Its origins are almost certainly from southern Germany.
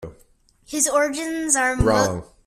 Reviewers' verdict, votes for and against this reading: rejected, 0, 2